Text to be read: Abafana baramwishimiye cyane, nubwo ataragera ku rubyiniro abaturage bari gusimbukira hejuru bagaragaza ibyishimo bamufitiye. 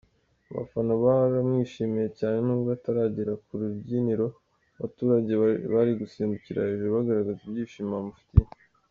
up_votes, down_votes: 0, 2